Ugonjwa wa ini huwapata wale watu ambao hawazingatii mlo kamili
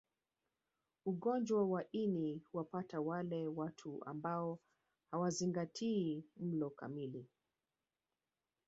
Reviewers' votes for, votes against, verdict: 1, 2, rejected